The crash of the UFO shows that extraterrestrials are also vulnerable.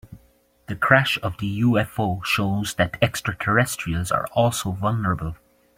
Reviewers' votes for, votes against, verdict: 3, 0, accepted